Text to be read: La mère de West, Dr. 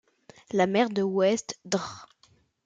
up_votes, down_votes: 1, 2